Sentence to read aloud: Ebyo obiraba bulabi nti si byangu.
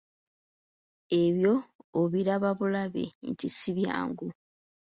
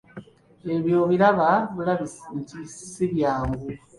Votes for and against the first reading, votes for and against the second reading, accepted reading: 3, 0, 0, 2, first